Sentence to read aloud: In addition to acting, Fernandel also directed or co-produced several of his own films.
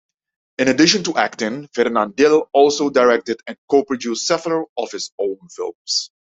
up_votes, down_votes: 0, 2